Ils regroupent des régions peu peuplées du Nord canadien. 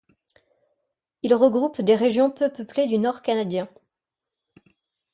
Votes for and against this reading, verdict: 2, 0, accepted